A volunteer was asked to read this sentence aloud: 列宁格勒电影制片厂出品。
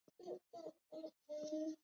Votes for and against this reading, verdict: 1, 2, rejected